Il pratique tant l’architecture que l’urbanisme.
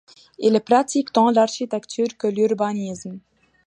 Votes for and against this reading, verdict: 2, 0, accepted